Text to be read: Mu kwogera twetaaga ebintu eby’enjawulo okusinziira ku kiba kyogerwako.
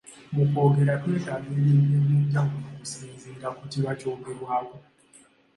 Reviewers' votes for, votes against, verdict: 2, 0, accepted